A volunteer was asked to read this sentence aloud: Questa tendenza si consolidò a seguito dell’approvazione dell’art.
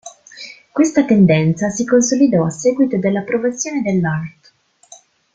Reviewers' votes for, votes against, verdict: 2, 0, accepted